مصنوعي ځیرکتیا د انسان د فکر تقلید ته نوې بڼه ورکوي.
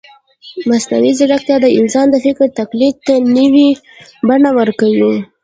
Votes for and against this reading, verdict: 1, 2, rejected